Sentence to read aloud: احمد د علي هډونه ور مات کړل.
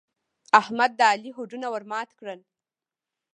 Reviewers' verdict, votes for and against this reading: rejected, 1, 2